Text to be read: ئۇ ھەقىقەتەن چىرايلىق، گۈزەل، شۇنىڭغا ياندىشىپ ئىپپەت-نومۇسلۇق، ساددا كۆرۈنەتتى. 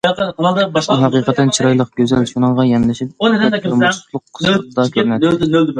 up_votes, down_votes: 0, 2